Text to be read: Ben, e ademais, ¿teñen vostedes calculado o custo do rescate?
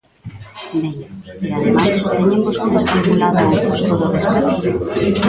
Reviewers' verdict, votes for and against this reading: rejected, 0, 3